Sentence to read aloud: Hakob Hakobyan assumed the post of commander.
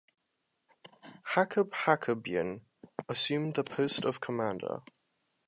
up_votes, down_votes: 3, 0